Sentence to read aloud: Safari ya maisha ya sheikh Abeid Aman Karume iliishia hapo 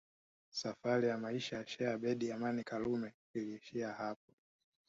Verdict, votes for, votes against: rejected, 1, 2